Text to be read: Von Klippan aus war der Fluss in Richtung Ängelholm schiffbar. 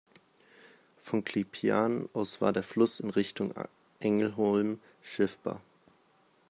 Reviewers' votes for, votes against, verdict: 0, 2, rejected